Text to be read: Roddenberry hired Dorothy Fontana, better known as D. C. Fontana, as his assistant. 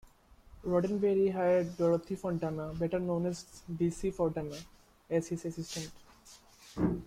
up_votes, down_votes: 0, 2